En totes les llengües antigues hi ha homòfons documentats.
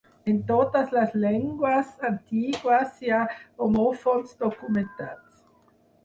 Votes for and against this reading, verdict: 2, 4, rejected